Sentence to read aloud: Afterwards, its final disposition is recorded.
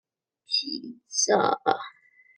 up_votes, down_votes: 0, 2